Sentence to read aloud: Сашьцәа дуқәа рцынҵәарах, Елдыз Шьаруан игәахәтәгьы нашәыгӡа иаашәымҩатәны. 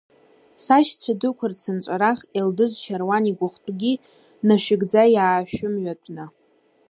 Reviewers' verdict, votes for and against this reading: accepted, 2, 0